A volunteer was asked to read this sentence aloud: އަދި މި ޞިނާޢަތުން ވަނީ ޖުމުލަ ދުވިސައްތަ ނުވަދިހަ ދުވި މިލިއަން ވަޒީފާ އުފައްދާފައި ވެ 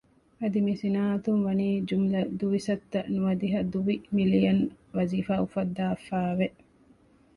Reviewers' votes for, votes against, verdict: 2, 0, accepted